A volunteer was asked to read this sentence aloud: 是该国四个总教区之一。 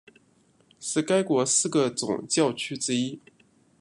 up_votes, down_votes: 1, 2